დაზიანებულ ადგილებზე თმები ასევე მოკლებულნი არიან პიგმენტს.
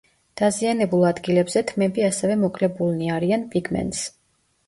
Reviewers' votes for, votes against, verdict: 1, 2, rejected